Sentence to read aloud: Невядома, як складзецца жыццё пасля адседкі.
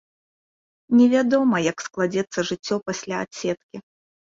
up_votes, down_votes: 2, 0